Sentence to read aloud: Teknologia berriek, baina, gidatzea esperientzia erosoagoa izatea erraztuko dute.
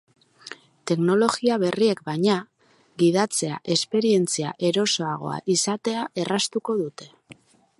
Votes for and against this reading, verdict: 2, 0, accepted